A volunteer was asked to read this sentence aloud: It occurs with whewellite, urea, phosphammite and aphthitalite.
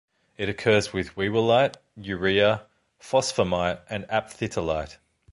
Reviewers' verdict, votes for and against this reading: accepted, 2, 0